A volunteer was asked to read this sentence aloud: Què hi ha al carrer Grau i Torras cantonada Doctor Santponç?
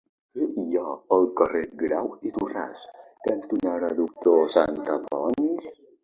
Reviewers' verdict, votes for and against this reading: rejected, 0, 2